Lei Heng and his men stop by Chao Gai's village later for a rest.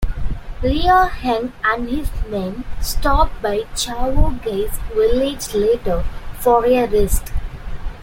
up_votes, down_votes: 1, 2